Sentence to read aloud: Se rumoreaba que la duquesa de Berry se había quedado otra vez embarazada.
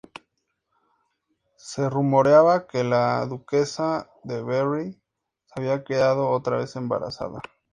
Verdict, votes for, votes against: accepted, 2, 0